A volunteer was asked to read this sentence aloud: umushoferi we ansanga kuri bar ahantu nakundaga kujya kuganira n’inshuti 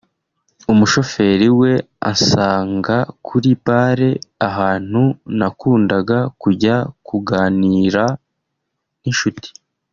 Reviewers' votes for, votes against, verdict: 2, 0, accepted